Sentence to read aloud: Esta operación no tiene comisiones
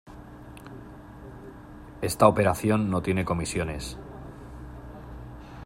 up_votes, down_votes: 2, 0